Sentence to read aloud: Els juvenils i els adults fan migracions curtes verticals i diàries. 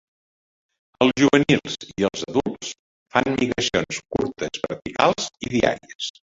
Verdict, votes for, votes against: accepted, 2, 0